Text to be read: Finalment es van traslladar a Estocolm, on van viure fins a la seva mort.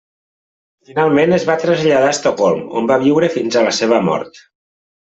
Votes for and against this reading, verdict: 1, 2, rejected